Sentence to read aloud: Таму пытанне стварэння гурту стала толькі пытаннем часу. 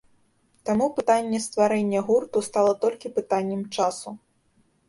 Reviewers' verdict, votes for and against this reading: accepted, 2, 0